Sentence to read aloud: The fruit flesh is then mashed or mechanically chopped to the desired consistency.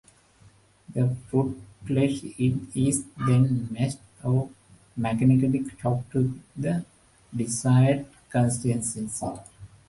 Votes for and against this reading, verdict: 0, 2, rejected